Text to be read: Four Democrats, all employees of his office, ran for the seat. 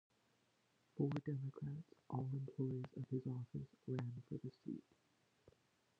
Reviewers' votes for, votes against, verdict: 0, 2, rejected